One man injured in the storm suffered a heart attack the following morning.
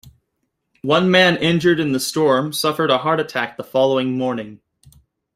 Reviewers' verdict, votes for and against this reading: accepted, 2, 0